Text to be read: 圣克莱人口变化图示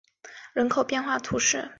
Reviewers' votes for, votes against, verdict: 0, 4, rejected